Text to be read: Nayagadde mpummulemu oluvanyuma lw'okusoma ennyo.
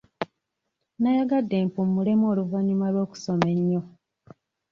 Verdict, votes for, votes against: accepted, 2, 0